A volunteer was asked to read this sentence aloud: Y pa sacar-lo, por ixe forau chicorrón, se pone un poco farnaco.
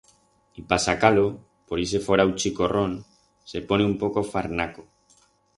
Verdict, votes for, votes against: rejected, 2, 4